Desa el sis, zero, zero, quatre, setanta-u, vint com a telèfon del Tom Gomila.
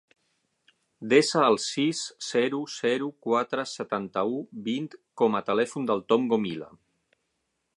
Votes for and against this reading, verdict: 6, 0, accepted